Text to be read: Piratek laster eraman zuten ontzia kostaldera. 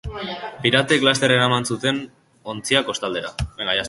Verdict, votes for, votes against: rejected, 0, 2